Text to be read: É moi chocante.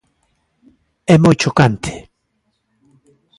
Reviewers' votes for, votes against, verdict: 2, 0, accepted